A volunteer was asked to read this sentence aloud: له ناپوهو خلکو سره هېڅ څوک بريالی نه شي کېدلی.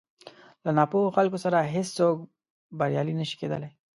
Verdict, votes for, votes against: accepted, 2, 0